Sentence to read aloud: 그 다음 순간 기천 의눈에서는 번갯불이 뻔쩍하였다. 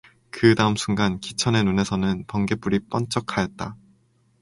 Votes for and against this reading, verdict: 2, 0, accepted